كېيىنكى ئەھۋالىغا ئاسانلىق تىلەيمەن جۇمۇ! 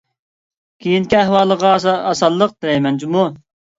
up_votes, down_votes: 0, 2